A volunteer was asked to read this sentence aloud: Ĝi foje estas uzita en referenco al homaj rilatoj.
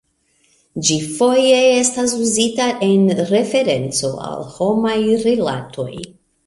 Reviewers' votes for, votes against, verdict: 2, 0, accepted